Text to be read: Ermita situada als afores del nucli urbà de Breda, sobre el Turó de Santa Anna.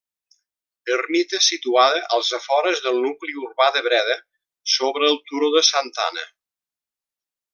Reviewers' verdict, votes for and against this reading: accepted, 2, 0